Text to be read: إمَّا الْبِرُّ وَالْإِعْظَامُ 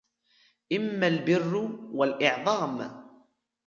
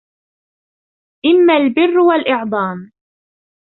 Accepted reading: first